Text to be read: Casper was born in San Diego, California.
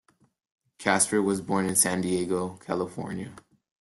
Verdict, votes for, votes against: accepted, 2, 0